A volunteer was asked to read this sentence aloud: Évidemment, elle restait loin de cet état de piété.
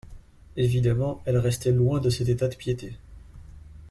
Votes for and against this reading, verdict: 2, 0, accepted